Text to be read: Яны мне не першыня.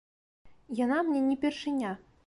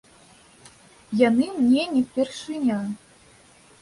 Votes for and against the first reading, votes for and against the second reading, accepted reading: 1, 2, 2, 0, second